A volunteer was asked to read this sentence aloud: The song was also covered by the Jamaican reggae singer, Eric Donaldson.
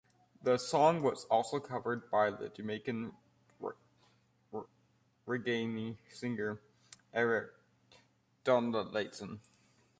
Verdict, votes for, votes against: rejected, 1, 2